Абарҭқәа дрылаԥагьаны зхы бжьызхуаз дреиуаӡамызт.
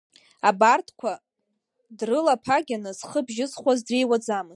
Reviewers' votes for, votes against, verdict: 2, 0, accepted